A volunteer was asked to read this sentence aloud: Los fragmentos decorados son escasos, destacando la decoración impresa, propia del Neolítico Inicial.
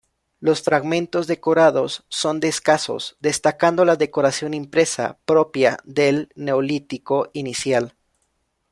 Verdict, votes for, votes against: rejected, 0, 2